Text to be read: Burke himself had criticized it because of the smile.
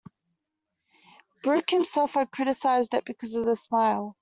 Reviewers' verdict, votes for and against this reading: accepted, 2, 0